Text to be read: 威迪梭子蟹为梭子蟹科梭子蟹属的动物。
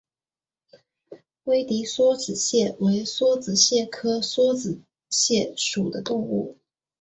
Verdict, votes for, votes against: accepted, 4, 0